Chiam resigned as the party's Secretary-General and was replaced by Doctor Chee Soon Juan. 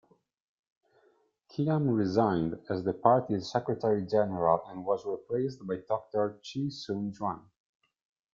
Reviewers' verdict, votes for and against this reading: rejected, 1, 2